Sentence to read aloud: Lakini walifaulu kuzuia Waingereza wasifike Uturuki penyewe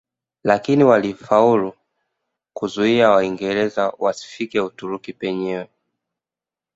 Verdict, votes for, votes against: accepted, 2, 0